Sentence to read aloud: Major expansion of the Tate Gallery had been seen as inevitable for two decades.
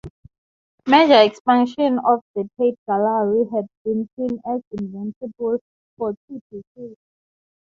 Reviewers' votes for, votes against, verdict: 0, 6, rejected